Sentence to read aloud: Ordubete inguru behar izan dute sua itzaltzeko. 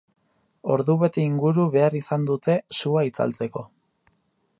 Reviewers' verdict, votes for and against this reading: accepted, 2, 0